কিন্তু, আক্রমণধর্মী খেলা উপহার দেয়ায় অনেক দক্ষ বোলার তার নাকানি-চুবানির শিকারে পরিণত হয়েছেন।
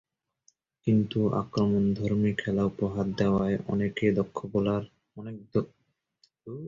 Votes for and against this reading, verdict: 0, 2, rejected